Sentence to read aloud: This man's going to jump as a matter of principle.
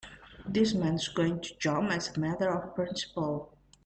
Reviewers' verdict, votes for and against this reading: accepted, 2, 0